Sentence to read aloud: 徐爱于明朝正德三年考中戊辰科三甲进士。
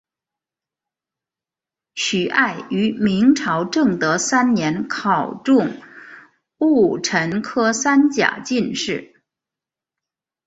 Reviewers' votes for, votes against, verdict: 2, 0, accepted